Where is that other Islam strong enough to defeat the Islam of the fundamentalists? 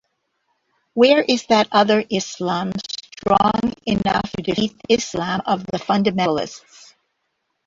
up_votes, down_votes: 0, 2